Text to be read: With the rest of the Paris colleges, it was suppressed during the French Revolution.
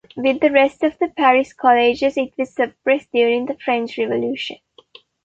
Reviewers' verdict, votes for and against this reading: accepted, 2, 1